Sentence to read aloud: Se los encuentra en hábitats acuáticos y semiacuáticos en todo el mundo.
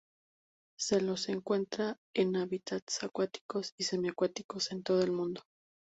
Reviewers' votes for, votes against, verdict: 2, 0, accepted